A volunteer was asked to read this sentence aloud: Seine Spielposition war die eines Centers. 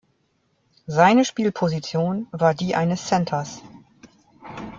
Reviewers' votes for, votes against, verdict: 2, 0, accepted